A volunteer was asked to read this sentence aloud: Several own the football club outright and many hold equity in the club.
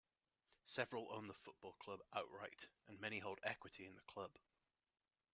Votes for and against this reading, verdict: 1, 2, rejected